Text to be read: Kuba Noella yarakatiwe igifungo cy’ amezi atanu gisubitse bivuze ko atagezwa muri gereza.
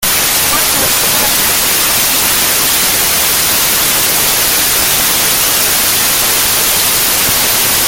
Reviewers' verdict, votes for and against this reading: rejected, 0, 2